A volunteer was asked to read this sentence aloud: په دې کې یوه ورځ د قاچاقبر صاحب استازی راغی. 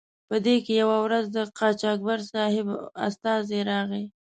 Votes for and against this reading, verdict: 2, 0, accepted